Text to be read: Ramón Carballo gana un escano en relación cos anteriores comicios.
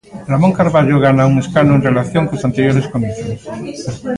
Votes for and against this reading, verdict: 2, 0, accepted